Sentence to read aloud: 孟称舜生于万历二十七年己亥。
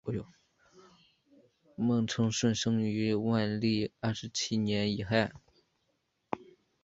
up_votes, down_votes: 1, 2